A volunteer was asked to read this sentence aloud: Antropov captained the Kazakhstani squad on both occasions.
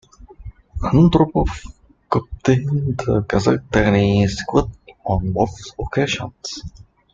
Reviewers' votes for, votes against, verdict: 0, 2, rejected